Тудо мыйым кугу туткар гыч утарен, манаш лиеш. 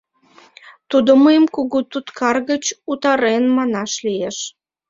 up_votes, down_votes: 2, 1